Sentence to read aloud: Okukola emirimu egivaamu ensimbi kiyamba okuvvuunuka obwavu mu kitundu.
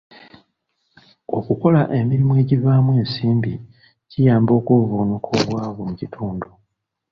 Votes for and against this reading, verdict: 2, 0, accepted